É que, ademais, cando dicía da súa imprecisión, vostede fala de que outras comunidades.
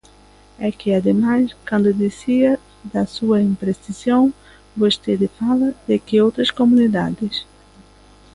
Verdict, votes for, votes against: accepted, 2, 0